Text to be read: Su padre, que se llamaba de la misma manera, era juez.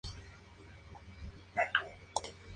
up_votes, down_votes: 0, 2